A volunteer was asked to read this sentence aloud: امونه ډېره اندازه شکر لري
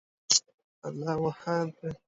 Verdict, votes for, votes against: accepted, 2, 0